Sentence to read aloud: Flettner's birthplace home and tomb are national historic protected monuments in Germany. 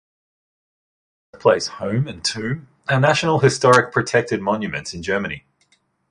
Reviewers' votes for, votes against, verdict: 0, 2, rejected